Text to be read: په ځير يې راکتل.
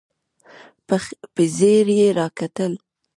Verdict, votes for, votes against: rejected, 1, 2